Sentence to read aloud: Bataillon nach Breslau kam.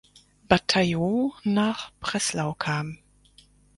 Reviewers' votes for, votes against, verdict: 2, 4, rejected